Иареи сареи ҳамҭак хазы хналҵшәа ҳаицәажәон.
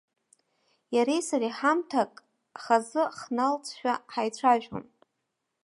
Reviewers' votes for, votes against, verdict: 2, 0, accepted